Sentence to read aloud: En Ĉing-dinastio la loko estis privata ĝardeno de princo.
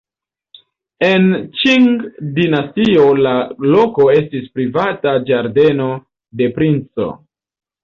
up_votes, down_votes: 1, 2